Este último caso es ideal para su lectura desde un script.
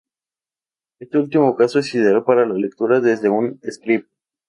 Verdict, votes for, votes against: rejected, 0, 2